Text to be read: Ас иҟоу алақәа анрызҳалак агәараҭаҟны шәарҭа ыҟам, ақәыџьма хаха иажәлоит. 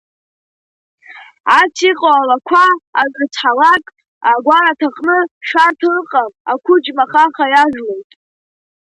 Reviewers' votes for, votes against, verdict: 2, 0, accepted